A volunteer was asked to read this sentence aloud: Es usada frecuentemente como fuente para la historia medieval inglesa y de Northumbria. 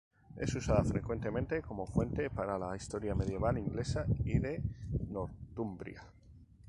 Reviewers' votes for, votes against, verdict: 0, 2, rejected